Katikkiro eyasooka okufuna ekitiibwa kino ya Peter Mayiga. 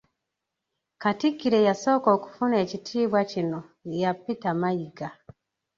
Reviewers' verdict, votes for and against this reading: rejected, 0, 2